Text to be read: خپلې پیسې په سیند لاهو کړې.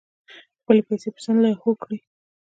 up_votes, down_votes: 1, 2